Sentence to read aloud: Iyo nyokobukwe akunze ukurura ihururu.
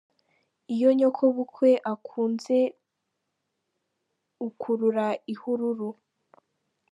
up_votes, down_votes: 2, 0